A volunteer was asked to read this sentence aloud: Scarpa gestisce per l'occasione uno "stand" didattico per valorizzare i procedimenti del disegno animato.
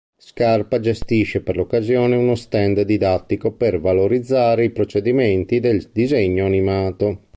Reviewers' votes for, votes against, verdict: 0, 2, rejected